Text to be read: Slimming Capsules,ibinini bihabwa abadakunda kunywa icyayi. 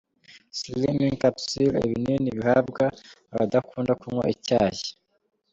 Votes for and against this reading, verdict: 1, 3, rejected